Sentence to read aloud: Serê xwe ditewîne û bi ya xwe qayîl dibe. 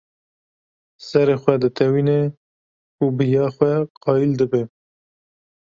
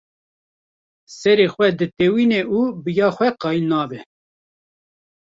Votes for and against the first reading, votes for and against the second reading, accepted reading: 2, 0, 0, 2, first